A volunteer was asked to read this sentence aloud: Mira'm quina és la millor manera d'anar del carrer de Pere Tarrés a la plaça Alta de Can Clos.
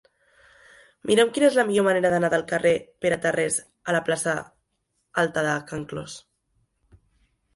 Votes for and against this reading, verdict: 0, 2, rejected